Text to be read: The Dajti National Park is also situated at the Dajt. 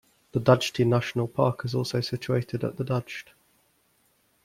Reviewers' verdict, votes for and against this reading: accepted, 2, 0